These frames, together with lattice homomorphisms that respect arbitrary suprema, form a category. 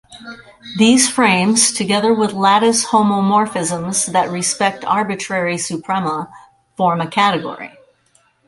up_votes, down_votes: 4, 0